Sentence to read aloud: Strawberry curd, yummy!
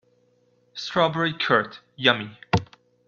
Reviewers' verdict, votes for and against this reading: accepted, 2, 0